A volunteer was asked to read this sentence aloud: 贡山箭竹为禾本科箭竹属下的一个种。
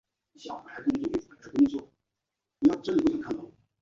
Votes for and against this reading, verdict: 1, 2, rejected